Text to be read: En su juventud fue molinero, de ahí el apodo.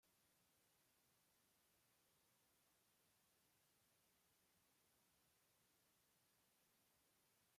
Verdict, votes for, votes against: rejected, 0, 2